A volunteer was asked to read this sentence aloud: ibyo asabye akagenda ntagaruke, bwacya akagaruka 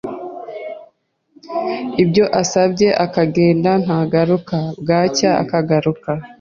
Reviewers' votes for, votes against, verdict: 0, 2, rejected